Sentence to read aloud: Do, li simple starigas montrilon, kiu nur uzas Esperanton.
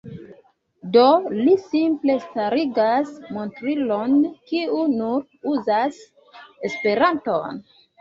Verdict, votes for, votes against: accepted, 3, 1